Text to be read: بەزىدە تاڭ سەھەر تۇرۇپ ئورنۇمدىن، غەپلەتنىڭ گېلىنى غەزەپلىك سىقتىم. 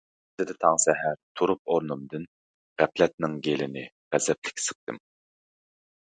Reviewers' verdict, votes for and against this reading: rejected, 0, 2